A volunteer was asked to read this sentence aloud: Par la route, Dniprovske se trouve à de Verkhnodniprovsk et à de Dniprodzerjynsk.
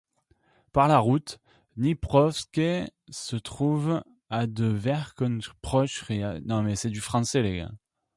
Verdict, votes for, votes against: rejected, 1, 2